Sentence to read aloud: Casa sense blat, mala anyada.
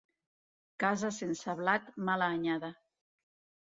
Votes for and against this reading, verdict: 2, 0, accepted